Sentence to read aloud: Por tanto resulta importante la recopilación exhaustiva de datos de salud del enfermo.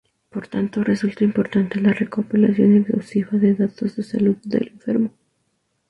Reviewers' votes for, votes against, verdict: 2, 0, accepted